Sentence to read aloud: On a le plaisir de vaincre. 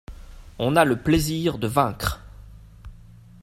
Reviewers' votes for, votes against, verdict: 2, 0, accepted